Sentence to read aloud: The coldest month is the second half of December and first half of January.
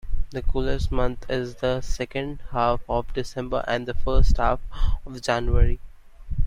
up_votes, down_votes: 2, 1